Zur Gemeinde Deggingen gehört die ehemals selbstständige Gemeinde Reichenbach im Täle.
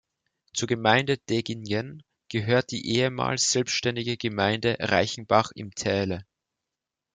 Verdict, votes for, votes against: accepted, 3, 0